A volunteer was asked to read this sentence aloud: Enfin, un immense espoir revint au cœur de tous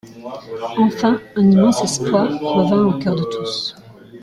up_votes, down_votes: 1, 2